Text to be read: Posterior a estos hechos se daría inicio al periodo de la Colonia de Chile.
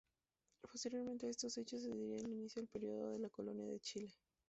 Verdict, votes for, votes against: rejected, 0, 2